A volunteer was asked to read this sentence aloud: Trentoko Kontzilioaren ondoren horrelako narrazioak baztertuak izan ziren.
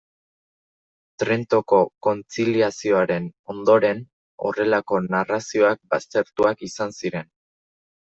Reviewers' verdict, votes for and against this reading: rejected, 1, 2